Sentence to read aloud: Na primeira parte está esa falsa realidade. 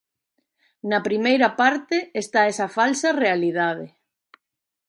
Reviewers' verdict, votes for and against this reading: accepted, 2, 1